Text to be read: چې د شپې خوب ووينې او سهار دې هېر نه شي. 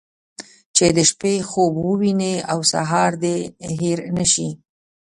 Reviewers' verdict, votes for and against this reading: accepted, 2, 0